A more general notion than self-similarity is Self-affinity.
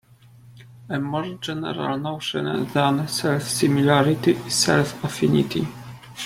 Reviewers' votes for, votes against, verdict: 1, 2, rejected